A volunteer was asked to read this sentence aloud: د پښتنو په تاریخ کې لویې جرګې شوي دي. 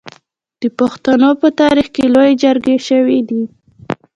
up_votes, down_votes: 1, 2